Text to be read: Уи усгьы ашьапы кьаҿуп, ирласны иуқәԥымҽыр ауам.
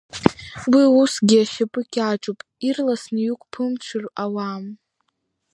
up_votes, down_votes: 2, 1